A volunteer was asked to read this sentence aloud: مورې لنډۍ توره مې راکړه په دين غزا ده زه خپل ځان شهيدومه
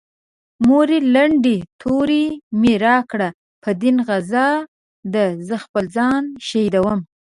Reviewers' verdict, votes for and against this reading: rejected, 0, 2